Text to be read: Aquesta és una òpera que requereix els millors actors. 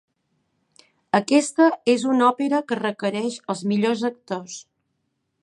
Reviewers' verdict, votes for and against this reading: accepted, 3, 0